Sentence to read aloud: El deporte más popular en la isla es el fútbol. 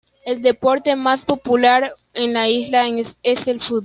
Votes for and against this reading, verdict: 0, 2, rejected